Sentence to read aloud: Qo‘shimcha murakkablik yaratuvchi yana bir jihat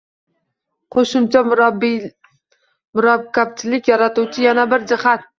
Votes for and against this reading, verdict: 0, 2, rejected